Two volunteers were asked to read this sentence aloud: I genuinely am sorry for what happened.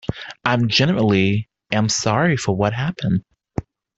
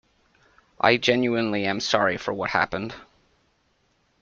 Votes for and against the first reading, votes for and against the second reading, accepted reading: 1, 2, 2, 0, second